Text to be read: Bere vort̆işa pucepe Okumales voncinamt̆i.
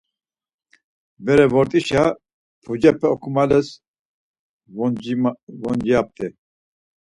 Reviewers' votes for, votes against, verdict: 0, 4, rejected